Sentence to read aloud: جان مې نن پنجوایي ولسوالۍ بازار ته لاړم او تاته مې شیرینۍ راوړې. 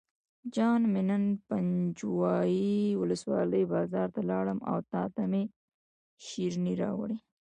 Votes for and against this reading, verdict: 1, 2, rejected